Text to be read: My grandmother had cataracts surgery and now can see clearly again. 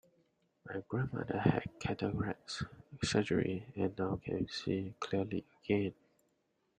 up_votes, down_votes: 2, 1